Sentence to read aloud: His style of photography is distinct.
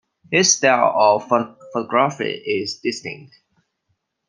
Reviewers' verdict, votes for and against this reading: rejected, 1, 2